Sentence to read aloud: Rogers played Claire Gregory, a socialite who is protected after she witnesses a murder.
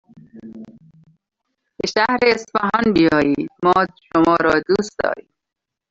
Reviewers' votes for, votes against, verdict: 0, 2, rejected